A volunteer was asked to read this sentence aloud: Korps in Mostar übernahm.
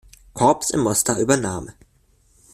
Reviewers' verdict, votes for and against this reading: accepted, 2, 1